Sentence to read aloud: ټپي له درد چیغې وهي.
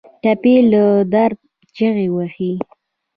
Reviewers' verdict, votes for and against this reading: rejected, 0, 2